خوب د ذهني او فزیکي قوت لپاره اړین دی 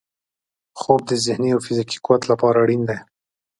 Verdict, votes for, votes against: accepted, 2, 0